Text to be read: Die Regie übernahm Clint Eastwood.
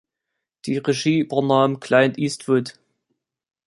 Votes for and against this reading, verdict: 0, 2, rejected